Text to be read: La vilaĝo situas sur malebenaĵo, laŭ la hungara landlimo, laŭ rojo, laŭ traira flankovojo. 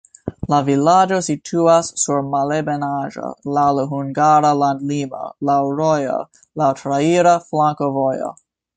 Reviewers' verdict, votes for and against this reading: rejected, 0, 2